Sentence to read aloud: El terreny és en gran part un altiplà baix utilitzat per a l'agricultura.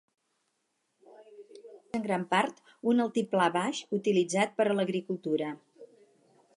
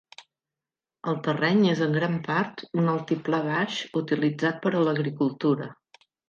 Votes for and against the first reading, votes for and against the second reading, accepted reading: 2, 4, 4, 0, second